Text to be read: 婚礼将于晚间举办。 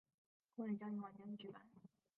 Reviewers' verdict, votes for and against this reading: rejected, 0, 2